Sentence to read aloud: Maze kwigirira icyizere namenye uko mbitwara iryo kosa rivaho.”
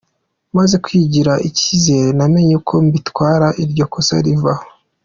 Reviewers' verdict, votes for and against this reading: rejected, 1, 2